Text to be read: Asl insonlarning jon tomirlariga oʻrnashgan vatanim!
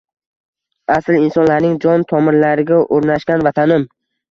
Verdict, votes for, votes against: accepted, 2, 0